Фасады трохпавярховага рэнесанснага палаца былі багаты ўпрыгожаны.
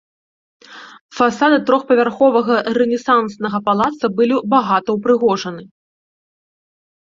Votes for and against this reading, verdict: 0, 2, rejected